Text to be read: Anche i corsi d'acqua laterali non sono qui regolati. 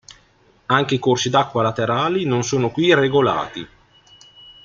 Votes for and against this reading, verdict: 2, 0, accepted